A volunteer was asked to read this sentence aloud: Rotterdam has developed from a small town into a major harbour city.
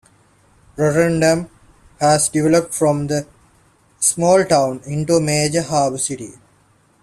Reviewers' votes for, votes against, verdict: 2, 0, accepted